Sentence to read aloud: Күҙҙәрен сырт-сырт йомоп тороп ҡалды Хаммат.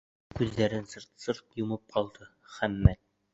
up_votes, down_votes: 0, 2